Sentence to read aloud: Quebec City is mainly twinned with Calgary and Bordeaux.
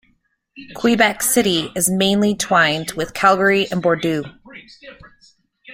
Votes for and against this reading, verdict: 0, 2, rejected